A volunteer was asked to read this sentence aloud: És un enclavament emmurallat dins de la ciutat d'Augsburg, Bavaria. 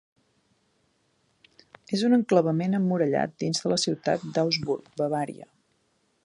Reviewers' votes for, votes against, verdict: 2, 0, accepted